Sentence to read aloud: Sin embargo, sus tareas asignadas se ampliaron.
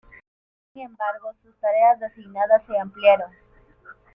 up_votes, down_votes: 2, 0